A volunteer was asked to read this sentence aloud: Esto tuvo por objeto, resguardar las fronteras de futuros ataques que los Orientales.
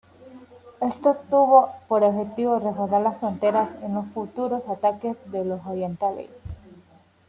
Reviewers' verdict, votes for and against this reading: rejected, 1, 2